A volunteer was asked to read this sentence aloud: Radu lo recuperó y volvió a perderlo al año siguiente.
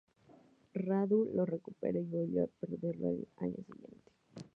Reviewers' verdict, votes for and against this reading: rejected, 0, 2